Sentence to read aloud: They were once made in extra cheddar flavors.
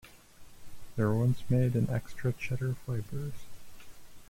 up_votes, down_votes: 1, 2